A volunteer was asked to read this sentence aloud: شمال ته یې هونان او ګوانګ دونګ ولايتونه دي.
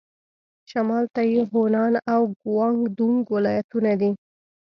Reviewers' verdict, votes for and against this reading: accepted, 2, 0